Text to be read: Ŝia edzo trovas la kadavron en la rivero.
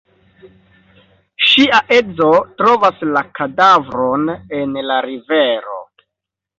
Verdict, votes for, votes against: accepted, 2, 0